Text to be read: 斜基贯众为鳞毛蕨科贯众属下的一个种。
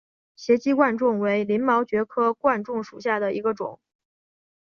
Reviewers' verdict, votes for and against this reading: accepted, 5, 0